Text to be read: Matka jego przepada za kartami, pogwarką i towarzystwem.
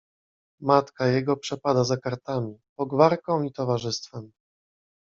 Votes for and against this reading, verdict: 2, 0, accepted